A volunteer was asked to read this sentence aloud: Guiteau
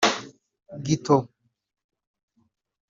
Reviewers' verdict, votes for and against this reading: rejected, 0, 2